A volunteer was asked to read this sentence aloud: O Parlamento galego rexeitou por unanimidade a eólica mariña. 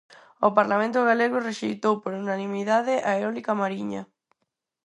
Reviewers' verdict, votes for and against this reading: accepted, 4, 0